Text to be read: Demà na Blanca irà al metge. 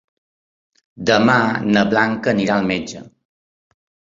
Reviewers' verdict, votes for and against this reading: rejected, 1, 2